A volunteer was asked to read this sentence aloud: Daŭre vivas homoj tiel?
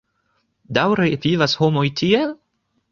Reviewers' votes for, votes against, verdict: 2, 0, accepted